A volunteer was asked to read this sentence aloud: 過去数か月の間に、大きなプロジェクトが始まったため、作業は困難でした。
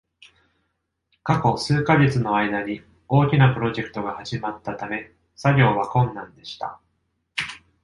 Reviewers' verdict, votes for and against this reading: accepted, 2, 0